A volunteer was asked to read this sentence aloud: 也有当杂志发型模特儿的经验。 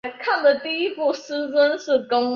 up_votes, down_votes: 0, 5